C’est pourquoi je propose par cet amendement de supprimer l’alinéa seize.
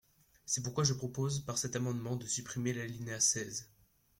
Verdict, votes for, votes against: accepted, 2, 0